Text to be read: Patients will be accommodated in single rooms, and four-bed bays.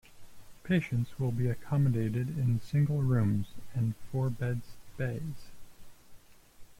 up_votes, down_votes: 2, 1